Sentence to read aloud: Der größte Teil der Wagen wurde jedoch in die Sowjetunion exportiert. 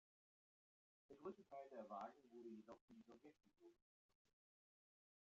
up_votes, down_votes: 0, 2